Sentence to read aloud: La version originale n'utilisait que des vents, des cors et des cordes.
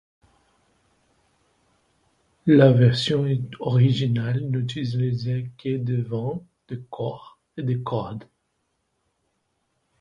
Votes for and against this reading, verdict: 1, 2, rejected